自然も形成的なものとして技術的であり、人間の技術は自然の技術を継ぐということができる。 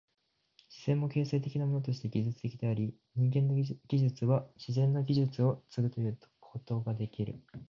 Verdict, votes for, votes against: rejected, 0, 2